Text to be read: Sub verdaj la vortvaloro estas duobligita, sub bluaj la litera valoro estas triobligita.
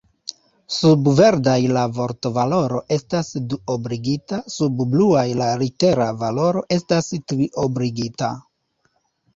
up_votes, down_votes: 2, 1